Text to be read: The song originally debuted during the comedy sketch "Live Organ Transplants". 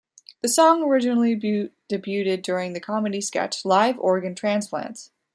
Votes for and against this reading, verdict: 0, 2, rejected